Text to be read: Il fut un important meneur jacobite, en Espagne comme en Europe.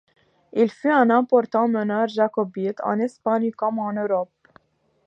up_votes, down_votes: 2, 0